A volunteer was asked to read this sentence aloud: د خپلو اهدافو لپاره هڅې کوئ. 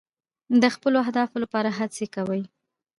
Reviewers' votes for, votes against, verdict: 1, 2, rejected